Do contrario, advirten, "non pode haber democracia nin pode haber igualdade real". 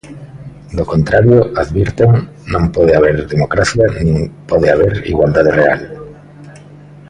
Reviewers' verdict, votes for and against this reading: accepted, 2, 1